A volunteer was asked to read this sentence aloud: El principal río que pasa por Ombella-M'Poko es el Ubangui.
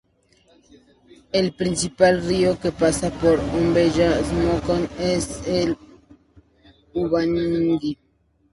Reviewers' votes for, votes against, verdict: 0, 2, rejected